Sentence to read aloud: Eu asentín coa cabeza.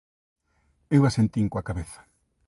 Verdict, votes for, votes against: accepted, 2, 0